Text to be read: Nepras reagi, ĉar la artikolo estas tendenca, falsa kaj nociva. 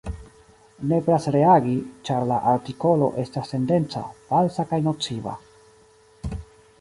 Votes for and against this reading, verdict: 2, 0, accepted